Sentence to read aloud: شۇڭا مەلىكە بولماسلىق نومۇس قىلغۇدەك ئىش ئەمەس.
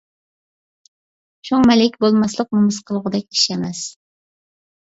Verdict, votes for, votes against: accepted, 2, 1